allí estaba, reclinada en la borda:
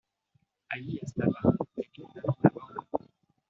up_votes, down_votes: 1, 2